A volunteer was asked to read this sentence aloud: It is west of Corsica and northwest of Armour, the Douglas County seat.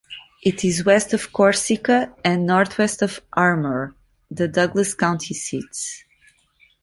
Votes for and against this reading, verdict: 1, 2, rejected